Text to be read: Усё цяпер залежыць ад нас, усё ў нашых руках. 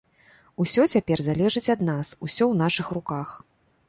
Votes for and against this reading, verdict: 2, 0, accepted